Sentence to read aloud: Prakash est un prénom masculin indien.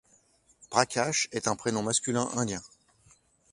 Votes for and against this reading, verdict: 2, 0, accepted